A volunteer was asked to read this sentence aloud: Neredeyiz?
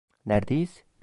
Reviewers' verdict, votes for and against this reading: rejected, 1, 2